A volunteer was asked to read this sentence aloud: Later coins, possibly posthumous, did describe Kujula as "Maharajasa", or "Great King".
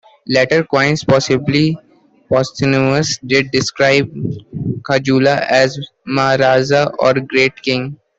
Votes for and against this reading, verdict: 2, 1, accepted